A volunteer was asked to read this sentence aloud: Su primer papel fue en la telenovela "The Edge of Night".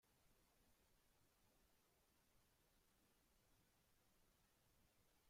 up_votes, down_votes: 0, 2